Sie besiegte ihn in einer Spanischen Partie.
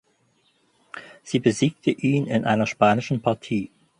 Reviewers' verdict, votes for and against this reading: accepted, 4, 0